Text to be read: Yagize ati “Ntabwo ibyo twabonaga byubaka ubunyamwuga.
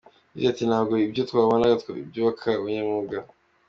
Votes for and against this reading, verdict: 3, 0, accepted